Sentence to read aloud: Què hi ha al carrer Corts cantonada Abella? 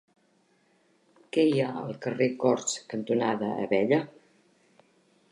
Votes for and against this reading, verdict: 3, 1, accepted